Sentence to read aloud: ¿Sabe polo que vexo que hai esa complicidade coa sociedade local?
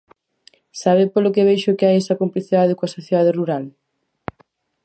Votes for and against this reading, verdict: 0, 4, rejected